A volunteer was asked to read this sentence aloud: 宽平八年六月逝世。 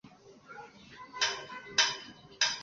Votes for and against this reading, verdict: 3, 5, rejected